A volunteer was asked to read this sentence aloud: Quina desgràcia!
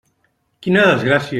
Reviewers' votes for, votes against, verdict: 3, 0, accepted